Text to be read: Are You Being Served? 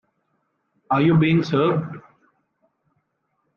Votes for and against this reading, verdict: 3, 0, accepted